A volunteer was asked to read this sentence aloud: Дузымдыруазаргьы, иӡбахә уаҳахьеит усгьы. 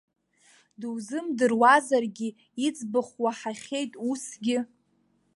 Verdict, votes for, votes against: accepted, 2, 0